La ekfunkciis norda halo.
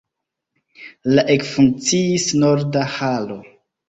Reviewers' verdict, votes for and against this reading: accepted, 2, 0